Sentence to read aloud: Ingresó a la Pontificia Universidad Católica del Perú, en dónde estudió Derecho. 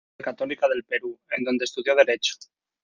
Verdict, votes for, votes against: rejected, 0, 2